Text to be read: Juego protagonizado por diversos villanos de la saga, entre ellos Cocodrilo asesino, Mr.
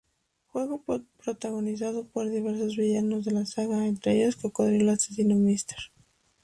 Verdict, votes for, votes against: accepted, 2, 0